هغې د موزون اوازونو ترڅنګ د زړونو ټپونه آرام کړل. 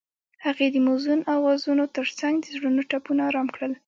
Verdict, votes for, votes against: accepted, 2, 0